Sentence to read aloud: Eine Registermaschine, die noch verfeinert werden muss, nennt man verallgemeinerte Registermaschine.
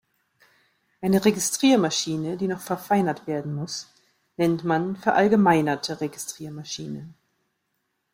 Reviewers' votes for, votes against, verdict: 0, 2, rejected